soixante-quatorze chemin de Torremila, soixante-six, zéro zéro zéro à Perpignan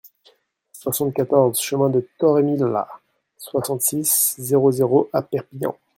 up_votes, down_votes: 1, 2